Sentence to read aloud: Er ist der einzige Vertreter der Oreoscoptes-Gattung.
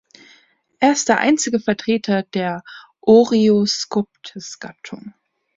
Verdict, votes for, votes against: accepted, 2, 0